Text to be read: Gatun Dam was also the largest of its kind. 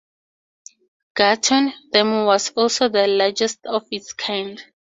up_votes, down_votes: 2, 0